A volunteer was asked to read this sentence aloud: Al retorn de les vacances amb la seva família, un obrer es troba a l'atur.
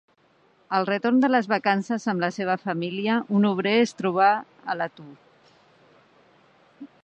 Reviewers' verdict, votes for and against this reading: rejected, 0, 2